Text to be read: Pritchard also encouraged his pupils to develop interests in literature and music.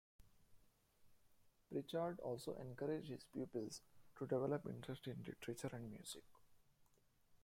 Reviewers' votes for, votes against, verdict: 0, 2, rejected